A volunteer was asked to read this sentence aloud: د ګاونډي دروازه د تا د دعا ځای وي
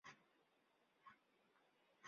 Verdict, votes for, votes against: rejected, 1, 2